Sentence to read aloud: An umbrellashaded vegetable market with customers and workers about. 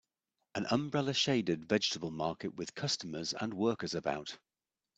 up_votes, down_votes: 2, 0